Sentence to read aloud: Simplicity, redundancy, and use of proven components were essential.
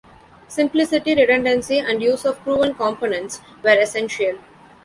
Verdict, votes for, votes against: accepted, 2, 0